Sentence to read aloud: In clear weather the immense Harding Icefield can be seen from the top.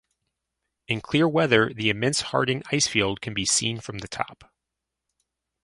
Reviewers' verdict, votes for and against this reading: accepted, 4, 0